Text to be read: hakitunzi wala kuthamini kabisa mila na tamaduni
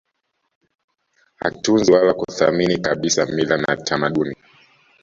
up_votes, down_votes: 1, 2